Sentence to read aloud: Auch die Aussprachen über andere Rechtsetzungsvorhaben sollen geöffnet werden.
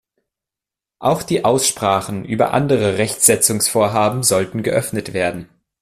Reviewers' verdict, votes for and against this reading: accepted, 2, 0